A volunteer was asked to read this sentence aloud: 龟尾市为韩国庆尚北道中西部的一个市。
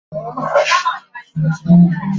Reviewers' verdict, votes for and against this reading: rejected, 0, 2